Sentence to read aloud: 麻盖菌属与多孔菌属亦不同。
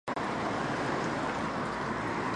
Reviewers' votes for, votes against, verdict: 2, 1, accepted